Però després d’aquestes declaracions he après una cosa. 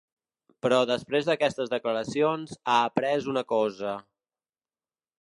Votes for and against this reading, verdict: 0, 2, rejected